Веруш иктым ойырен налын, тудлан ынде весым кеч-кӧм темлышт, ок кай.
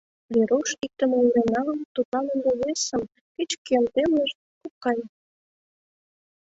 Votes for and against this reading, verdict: 2, 0, accepted